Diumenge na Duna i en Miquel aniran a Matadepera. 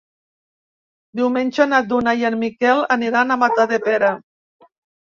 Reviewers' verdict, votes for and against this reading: accepted, 2, 0